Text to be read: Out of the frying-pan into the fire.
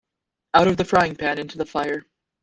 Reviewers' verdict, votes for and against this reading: accepted, 2, 1